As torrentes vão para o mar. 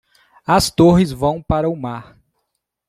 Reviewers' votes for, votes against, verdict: 0, 2, rejected